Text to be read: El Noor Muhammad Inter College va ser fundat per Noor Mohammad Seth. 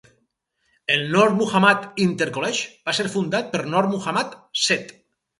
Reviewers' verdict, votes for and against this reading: rejected, 2, 2